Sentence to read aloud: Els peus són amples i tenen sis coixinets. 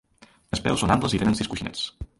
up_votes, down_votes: 0, 2